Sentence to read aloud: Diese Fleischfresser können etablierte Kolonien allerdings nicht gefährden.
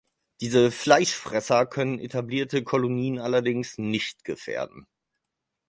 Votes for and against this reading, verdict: 4, 0, accepted